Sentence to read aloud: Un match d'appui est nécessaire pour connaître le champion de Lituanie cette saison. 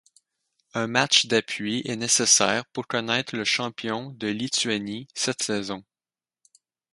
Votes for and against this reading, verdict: 4, 0, accepted